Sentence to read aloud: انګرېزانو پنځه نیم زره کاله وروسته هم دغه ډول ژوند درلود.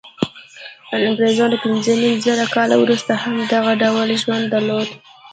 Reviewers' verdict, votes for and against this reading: accepted, 2, 1